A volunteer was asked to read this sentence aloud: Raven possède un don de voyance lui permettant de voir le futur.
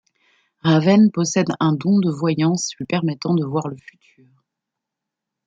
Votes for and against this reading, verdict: 2, 1, accepted